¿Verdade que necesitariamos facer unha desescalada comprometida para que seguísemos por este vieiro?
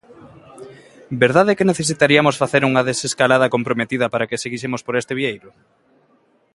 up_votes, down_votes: 0, 2